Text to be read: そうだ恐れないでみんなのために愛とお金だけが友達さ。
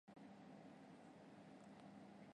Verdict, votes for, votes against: rejected, 0, 2